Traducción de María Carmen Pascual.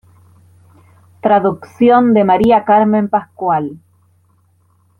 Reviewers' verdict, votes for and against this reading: accepted, 2, 0